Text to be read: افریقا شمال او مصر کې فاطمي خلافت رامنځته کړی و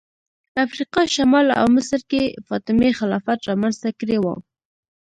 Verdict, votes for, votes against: rejected, 1, 2